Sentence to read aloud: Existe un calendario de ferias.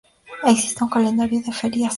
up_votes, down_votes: 2, 2